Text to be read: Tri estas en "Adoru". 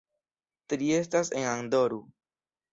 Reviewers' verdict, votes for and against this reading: accepted, 2, 0